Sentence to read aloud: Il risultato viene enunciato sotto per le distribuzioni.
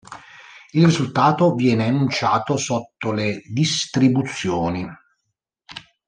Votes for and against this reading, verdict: 0, 2, rejected